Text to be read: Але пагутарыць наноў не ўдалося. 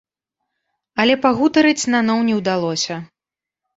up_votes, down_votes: 2, 0